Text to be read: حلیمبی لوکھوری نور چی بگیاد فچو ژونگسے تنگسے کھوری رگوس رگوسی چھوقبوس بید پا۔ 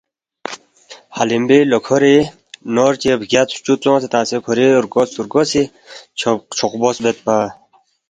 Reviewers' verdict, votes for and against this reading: accepted, 2, 0